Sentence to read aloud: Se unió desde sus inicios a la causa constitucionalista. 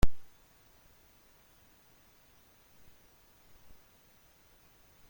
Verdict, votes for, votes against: rejected, 0, 2